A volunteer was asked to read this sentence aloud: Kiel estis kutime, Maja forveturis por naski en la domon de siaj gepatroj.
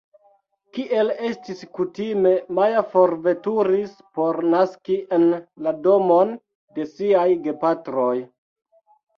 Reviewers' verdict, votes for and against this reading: accepted, 2, 1